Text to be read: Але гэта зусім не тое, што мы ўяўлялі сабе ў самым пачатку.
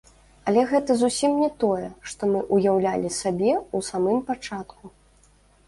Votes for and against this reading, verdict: 1, 2, rejected